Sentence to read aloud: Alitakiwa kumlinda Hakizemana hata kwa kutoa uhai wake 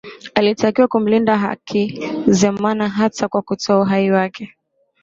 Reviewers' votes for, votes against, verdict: 8, 0, accepted